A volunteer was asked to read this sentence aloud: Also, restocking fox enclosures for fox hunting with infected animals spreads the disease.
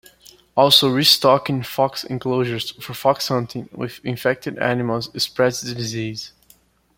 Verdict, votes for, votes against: accepted, 2, 0